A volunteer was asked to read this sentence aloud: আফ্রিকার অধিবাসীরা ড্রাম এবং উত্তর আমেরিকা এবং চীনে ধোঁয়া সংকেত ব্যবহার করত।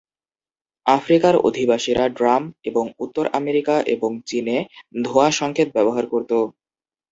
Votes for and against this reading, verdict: 4, 0, accepted